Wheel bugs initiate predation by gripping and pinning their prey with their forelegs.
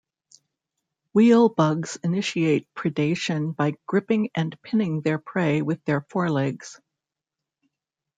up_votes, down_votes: 0, 2